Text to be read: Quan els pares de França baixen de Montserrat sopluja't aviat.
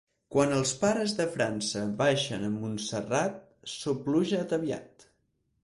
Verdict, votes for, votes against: rejected, 2, 4